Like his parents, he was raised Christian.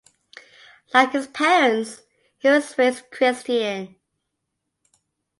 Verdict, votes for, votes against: accepted, 2, 0